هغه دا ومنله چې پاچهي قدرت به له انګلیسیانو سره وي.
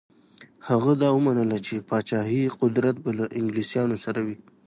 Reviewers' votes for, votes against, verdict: 2, 0, accepted